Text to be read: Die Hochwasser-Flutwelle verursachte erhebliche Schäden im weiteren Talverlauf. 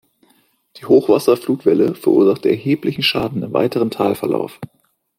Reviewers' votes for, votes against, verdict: 1, 2, rejected